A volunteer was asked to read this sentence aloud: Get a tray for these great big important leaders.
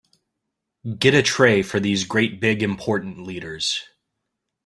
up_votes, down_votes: 2, 0